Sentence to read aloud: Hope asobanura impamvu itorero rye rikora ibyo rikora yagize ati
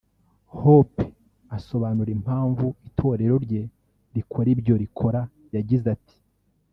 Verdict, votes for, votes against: rejected, 1, 2